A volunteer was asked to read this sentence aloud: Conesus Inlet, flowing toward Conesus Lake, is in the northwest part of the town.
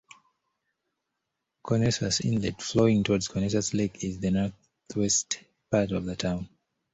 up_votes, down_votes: 2, 0